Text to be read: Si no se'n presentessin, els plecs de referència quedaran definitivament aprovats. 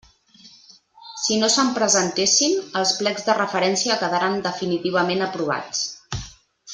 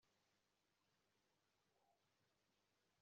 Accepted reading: first